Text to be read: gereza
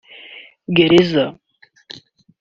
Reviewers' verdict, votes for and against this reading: accepted, 2, 0